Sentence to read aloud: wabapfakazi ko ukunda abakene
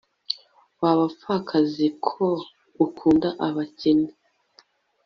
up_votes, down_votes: 2, 0